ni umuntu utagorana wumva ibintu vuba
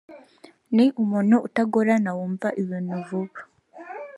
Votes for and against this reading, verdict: 4, 0, accepted